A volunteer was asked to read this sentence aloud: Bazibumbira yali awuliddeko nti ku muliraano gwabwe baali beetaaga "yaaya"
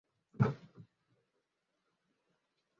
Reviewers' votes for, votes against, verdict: 0, 2, rejected